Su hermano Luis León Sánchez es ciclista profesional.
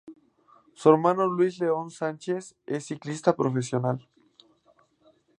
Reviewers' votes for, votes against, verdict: 2, 2, rejected